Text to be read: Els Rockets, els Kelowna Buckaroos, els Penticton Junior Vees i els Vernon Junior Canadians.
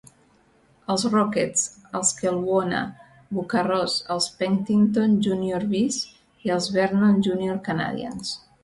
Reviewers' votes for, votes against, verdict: 2, 1, accepted